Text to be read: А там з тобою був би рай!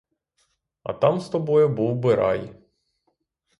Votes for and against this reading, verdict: 6, 0, accepted